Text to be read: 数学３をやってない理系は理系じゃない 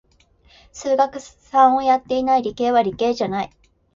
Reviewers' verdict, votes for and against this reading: rejected, 0, 2